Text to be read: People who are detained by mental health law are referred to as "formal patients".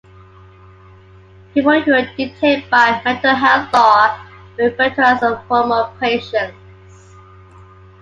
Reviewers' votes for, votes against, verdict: 0, 2, rejected